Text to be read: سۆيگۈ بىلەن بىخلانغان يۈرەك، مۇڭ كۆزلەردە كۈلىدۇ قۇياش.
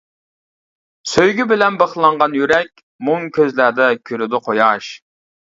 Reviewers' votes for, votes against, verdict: 2, 1, accepted